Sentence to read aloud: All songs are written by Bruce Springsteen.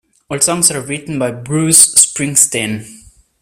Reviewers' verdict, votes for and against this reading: accepted, 2, 0